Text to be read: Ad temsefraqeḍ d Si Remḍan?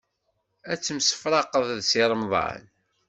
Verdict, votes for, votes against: accepted, 2, 0